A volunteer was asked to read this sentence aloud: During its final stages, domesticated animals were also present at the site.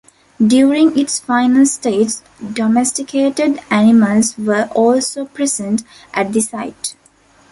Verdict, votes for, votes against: rejected, 1, 2